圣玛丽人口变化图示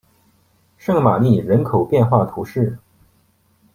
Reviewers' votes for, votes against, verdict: 2, 0, accepted